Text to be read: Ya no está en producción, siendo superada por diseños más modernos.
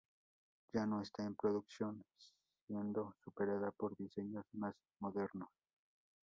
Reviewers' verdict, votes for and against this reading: accepted, 2, 0